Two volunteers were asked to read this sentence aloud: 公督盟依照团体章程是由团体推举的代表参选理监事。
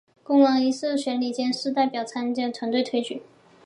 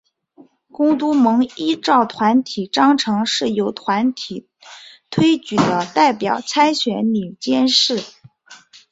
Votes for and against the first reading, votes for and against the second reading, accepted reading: 0, 4, 4, 1, second